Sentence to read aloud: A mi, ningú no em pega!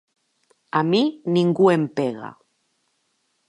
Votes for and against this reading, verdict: 0, 3, rejected